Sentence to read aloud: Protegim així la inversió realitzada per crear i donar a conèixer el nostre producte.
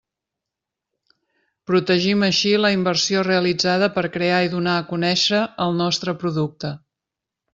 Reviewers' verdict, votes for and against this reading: accepted, 3, 1